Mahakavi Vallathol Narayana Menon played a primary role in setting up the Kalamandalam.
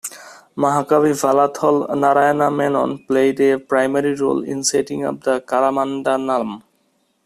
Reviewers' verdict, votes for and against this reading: accepted, 2, 0